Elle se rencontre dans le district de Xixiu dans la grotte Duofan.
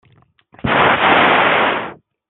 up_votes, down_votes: 0, 2